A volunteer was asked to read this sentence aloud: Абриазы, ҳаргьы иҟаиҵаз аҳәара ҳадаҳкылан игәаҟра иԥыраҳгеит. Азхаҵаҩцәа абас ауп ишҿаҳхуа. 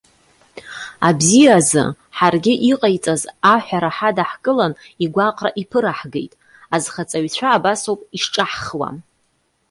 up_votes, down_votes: 0, 2